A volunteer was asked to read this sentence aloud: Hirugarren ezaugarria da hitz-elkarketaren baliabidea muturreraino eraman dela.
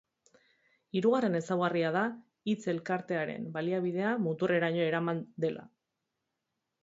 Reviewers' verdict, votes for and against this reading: rejected, 2, 4